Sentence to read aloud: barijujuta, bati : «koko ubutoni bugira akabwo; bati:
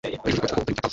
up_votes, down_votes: 2, 1